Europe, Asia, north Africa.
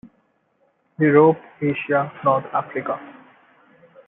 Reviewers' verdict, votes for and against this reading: accepted, 2, 1